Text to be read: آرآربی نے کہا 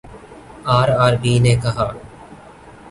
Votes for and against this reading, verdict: 2, 0, accepted